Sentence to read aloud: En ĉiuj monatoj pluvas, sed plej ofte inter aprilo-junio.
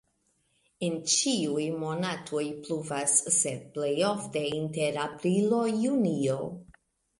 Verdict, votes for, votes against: rejected, 1, 2